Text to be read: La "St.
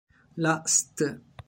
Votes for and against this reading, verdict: 1, 2, rejected